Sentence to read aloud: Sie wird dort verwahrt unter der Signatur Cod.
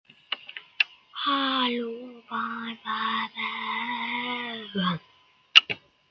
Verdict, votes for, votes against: rejected, 0, 2